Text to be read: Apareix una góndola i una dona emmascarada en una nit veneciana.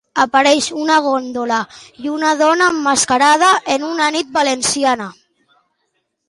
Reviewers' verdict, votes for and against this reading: rejected, 0, 2